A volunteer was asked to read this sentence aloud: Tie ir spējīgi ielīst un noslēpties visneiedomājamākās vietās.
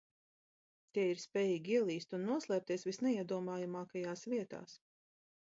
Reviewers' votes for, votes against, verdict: 1, 2, rejected